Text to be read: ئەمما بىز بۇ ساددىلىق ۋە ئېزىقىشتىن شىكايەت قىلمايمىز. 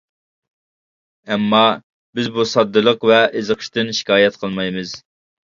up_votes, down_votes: 2, 0